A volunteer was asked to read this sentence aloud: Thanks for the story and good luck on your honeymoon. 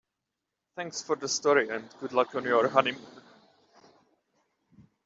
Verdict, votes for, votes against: accepted, 2, 1